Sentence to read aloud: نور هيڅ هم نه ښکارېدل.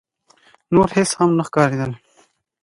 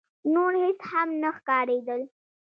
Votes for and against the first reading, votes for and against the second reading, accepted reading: 2, 0, 1, 2, first